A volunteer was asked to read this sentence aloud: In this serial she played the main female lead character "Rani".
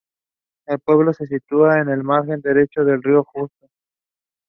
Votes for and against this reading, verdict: 0, 2, rejected